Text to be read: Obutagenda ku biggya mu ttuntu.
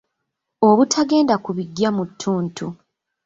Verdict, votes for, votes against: rejected, 1, 2